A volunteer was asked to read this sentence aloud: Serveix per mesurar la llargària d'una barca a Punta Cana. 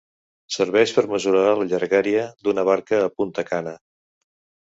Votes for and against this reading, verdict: 3, 0, accepted